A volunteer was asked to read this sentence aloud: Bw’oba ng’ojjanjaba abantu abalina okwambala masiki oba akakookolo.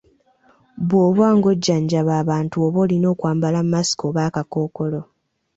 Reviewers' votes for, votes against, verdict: 2, 0, accepted